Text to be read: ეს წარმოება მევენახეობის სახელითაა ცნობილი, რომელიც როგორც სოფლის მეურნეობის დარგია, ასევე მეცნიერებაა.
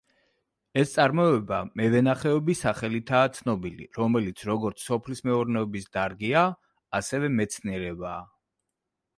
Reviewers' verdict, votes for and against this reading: accepted, 2, 1